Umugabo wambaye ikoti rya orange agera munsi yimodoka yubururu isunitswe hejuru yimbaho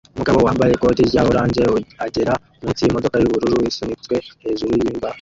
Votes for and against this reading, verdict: 1, 2, rejected